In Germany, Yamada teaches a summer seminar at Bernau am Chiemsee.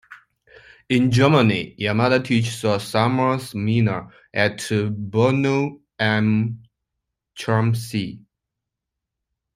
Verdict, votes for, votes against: rejected, 1, 2